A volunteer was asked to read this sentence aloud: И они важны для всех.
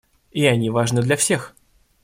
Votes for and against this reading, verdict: 1, 2, rejected